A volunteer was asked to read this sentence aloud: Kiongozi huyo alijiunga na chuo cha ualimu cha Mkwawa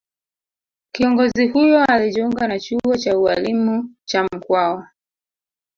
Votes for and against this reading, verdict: 1, 2, rejected